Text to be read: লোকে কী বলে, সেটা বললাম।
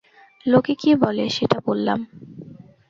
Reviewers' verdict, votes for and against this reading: accepted, 2, 0